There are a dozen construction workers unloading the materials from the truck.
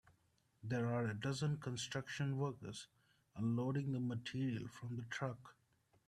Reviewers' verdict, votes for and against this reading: rejected, 0, 2